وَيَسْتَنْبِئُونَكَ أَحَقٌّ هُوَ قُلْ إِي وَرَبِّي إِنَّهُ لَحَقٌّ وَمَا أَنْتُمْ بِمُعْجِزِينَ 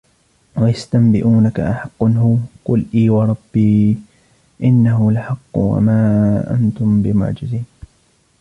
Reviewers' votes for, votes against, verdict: 1, 2, rejected